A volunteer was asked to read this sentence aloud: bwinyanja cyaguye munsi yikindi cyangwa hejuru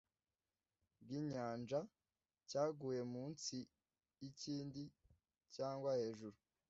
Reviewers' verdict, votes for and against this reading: accepted, 2, 0